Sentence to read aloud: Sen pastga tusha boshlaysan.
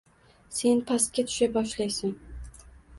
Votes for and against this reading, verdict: 2, 1, accepted